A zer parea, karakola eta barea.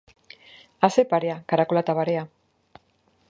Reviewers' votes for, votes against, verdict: 3, 0, accepted